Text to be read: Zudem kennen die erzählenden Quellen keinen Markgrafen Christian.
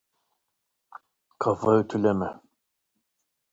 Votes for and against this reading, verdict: 0, 2, rejected